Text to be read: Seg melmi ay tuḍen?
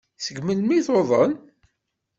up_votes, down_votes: 2, 1